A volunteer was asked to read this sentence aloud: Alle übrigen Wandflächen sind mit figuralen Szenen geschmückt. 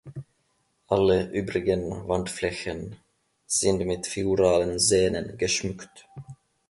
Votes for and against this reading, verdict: 1, 2, rejected